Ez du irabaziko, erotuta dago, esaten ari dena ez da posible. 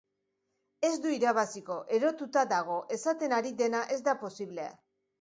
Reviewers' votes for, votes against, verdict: 2, 0, accepted